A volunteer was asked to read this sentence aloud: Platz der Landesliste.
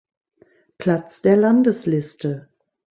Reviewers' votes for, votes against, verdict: 2, 0, accepted